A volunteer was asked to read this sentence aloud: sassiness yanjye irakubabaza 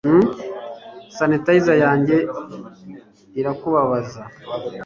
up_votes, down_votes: 2, 3